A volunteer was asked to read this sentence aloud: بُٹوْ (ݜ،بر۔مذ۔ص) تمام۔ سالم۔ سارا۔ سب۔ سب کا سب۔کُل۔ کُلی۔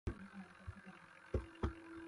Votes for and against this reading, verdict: 0, 2, rejected